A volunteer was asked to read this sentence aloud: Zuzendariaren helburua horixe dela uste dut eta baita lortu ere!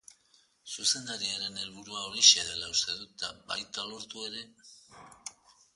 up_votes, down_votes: 2, 0